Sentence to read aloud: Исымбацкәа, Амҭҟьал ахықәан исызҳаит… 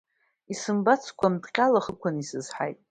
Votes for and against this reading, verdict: 2, 0, accepted